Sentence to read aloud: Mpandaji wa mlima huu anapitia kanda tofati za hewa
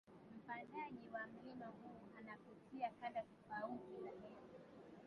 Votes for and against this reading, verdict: 0, 2, rejected